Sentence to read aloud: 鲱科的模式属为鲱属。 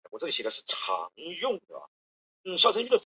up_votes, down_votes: 0, 2